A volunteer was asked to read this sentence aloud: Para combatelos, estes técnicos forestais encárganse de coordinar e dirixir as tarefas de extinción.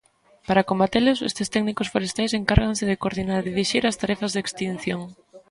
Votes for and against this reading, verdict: 2, 0, accepted